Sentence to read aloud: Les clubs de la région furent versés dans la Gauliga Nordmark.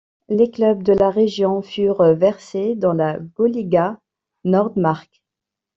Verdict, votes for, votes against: rejected, 1, 2